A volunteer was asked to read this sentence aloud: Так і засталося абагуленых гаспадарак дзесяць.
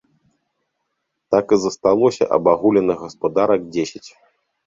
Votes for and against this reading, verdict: 2, 0, accepted